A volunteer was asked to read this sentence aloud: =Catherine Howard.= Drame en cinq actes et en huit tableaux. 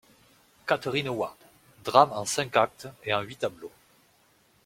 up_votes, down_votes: 2, 0